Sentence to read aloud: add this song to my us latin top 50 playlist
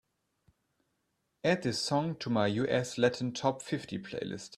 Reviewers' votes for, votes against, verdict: 0, 2, rejected